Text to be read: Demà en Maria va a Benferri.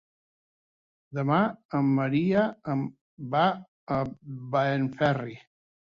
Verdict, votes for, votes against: rejected, 0, 2